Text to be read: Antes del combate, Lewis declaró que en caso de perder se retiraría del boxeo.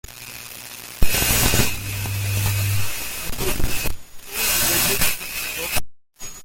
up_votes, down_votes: 0, 2